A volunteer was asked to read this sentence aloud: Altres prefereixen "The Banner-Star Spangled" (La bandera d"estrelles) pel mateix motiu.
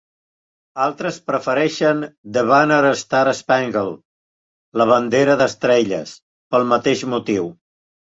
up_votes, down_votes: 3, 0